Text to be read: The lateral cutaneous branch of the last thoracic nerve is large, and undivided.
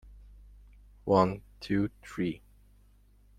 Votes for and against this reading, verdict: 0, 2, rejected